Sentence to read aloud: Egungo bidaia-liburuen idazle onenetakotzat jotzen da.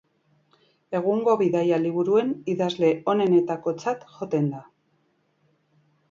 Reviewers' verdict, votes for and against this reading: rejected, 2, 3